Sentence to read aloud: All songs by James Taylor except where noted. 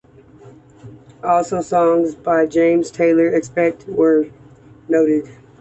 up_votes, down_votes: 2, 1